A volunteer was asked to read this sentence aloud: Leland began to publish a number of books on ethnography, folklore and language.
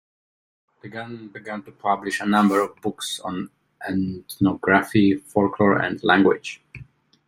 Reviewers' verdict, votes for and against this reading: rejected, 1, 2